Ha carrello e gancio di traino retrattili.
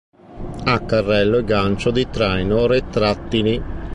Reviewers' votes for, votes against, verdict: 2, 0, accepted